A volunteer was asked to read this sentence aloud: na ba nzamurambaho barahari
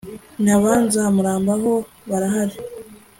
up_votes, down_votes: 2, 0